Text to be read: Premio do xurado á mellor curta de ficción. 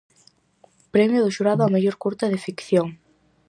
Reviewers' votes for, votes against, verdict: 4, 0, accepted